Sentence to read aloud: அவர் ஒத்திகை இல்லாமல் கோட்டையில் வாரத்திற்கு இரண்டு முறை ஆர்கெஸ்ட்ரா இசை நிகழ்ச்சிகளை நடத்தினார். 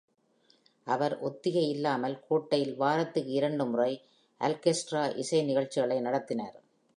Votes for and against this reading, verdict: 0, 2, rejected